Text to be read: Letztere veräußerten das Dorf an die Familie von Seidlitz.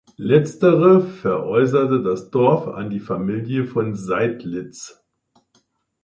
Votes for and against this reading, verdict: 2, 4, rejected